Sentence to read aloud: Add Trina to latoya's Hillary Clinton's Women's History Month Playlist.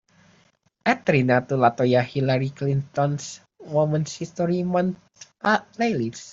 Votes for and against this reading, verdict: 0, 2, rejected